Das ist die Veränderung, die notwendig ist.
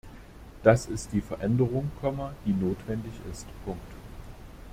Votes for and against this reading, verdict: 1, 2, rejected